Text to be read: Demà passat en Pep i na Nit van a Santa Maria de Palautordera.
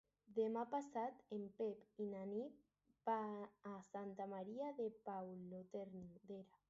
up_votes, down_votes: 0, 2